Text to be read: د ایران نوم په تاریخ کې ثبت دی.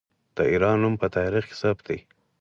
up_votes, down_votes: 4, 0